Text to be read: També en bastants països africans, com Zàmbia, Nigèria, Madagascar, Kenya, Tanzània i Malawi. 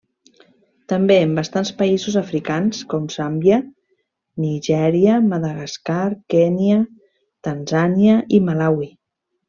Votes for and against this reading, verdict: 1, 2, rejected